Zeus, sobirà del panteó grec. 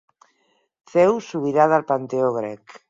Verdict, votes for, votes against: rejected, 2, 4